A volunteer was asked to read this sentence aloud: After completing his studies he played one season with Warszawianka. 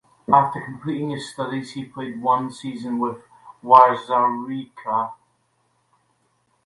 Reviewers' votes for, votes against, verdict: 0, 2, rejected